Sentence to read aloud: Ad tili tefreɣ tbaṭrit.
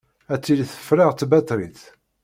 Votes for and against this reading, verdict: 2, 0, accepted